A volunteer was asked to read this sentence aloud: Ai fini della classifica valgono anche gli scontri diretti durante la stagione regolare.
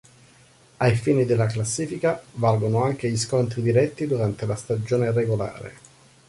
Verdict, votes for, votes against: accepted, 2, 0